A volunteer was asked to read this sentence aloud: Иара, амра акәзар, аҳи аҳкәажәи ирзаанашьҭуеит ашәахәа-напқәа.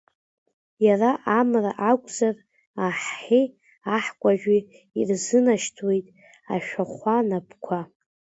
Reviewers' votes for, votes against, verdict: 1, 2, rejected